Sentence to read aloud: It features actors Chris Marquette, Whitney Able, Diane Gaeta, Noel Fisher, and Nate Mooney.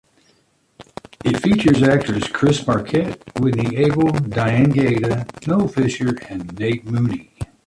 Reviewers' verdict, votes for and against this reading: accepted, 2, 1